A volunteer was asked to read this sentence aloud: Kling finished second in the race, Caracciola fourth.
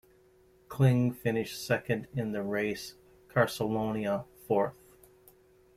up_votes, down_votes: 2, 0